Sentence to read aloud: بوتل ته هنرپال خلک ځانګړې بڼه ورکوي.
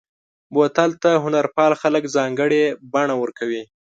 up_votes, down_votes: 2, 0